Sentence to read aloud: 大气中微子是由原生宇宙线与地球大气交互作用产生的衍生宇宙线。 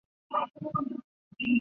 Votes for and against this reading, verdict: 0, 7, rejected